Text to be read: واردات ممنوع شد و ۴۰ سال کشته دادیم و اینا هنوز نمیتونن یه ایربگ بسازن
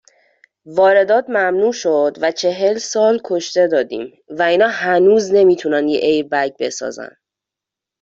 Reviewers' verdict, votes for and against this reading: rejected, 0, 2